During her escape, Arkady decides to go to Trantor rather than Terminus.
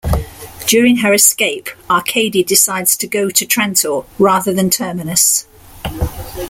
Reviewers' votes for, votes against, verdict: 2, 0, accepted